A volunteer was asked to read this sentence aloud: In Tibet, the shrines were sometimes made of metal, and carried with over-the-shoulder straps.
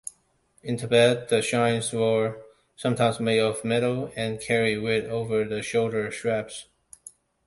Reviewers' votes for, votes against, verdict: 2, 1, accepted